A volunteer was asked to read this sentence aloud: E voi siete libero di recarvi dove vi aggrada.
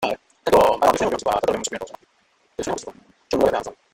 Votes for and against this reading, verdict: 0, 2, rejected